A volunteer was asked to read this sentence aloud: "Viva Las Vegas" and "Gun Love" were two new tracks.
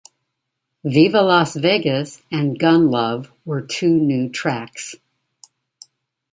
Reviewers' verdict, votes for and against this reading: accepted, 2, 1